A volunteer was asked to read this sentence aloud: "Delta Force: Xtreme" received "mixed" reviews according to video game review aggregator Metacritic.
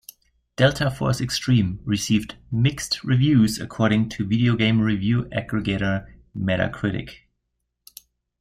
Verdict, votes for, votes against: accepted, 2, 1